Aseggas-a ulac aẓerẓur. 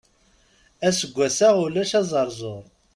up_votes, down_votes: 2, 0